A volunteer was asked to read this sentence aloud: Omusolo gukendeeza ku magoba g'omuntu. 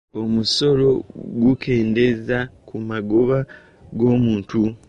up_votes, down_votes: 0, 2